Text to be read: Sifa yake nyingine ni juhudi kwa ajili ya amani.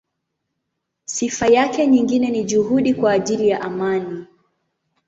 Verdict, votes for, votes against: accepted, 2, 0